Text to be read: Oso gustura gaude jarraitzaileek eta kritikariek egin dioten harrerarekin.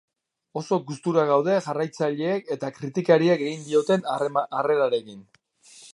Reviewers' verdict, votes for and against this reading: rejected, 1, 2